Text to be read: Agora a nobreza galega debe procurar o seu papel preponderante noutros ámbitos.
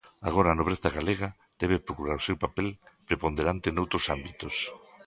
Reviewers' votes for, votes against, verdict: 2, 0, accepted